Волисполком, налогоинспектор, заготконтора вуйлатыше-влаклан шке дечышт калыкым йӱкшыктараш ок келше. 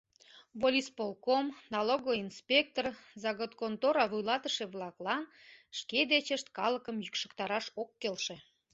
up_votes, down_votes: 2, 0